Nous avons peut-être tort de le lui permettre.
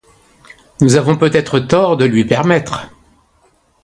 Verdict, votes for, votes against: rejected, 1, 2